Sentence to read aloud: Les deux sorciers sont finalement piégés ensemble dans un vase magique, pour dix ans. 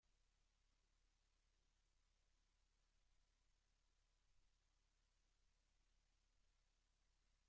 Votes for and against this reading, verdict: 0, 2, rejected